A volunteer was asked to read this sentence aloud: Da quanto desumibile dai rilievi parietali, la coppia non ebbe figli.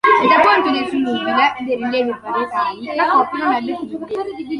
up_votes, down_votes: 0, 2